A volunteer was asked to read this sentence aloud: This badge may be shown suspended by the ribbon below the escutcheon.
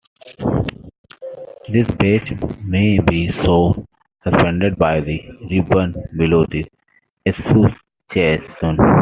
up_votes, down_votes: 0, 2